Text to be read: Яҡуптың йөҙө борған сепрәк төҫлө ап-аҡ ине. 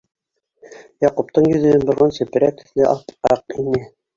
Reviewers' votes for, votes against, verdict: 1, 2, rejected